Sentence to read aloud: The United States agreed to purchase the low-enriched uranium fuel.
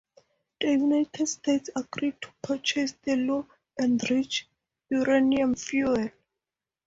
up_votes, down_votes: 0, 4